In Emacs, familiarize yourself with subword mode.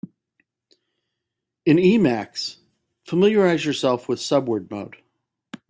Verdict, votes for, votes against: accepted, 2, 0